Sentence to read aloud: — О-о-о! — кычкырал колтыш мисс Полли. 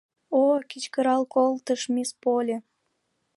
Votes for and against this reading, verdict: 0, 2, rejected